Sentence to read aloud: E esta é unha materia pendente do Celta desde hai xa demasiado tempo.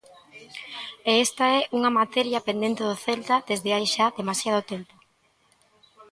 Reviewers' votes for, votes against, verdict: 2, 1, accepted